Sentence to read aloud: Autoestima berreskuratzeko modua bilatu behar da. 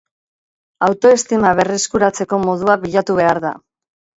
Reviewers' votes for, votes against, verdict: 2, 0, accepted